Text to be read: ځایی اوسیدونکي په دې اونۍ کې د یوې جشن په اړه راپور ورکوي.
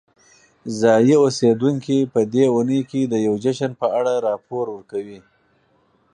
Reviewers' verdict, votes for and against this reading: rejected, 2, 4